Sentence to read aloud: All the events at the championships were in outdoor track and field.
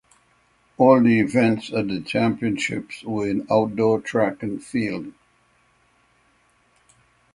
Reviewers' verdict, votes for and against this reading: accepted, 6, 0